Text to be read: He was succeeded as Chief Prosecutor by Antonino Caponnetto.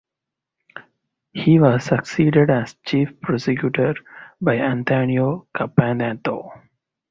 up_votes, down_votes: 0, 4